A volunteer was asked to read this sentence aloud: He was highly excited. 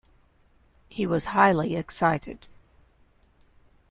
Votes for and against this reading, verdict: 2, 0, accepted